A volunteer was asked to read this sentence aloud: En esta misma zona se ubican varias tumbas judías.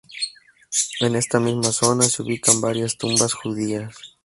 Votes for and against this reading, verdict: 2, 0, accepted